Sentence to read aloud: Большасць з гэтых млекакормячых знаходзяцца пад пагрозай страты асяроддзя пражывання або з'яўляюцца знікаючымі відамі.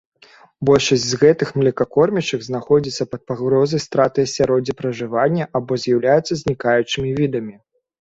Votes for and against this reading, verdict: 3, 0, accepted